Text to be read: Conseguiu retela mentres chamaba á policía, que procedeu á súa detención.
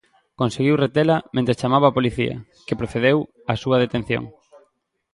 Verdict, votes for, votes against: accepted, 2, 0